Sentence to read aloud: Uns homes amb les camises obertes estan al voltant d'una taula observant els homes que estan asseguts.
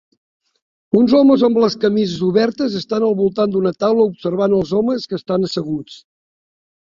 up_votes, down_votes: 3, 0